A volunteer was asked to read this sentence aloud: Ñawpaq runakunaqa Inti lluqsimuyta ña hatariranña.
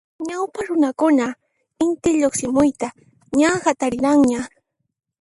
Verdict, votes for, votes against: accepted, 2, 0